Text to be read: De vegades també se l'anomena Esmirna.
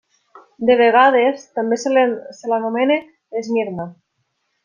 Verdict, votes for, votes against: rejected, 0, 2